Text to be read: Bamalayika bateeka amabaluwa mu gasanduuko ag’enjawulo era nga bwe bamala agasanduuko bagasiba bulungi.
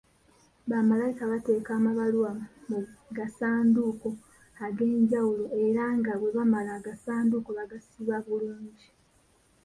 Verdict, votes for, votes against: accepted, 2, 1